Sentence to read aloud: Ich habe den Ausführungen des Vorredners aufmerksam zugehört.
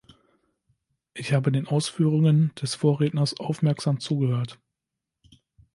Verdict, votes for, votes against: accepted, 3, 0